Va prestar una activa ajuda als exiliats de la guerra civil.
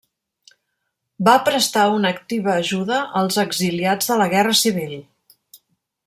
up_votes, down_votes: 3, 0